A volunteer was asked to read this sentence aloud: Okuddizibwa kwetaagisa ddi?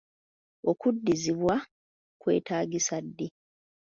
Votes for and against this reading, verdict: 2, 0, accepted